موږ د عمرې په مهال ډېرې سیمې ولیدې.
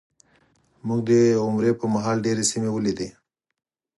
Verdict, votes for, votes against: accepted, 4, 0